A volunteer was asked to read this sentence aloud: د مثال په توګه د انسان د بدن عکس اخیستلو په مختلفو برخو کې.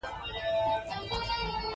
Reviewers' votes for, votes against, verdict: 2, 0, accepted